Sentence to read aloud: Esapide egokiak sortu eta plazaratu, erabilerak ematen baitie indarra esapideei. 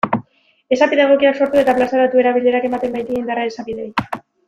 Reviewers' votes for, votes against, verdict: 1, 2, rejected